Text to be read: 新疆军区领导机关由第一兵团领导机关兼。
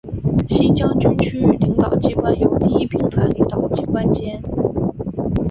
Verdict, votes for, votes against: rejected, 1, 2